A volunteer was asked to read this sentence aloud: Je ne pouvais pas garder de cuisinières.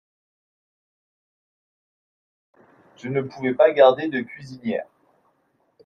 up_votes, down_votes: 2, 0